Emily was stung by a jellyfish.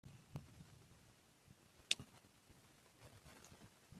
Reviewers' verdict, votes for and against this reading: rejected, 0, 2